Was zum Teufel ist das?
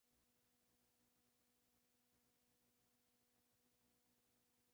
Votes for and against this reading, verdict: 0, 2, rejected